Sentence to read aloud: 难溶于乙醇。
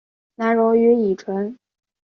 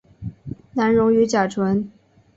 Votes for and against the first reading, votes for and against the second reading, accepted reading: 2, 0, 2, 2, first